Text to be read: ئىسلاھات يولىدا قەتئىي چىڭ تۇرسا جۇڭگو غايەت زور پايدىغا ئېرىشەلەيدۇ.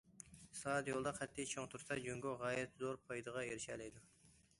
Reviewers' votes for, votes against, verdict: 1, 2, rejected